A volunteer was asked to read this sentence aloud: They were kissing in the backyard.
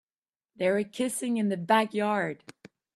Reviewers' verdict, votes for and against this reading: accepted, 3, 1